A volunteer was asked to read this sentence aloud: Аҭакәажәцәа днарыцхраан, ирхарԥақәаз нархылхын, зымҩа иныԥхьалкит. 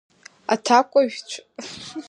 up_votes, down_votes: 1, 2